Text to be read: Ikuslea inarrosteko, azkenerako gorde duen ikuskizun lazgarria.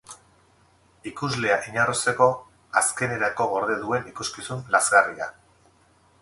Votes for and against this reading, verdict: 2, 2, rejected